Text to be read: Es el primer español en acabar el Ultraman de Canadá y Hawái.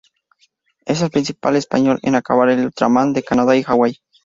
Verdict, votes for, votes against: rejected, 0, 4